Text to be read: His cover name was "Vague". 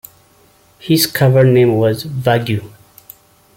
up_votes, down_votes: 2, 0